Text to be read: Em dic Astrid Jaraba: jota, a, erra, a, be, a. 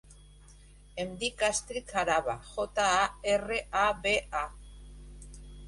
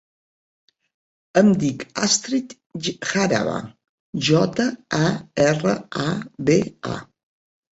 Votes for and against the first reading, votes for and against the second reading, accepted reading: 1, 3, 2, 0, second